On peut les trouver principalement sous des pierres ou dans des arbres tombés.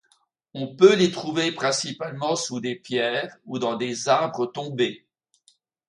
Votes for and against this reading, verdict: 2, 0, accepted